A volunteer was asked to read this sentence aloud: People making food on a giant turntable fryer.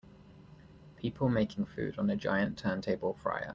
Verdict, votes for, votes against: accepted, 2, 0